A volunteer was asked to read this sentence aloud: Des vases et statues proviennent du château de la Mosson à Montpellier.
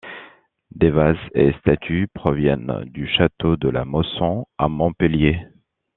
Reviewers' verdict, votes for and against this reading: accepted, 2, 0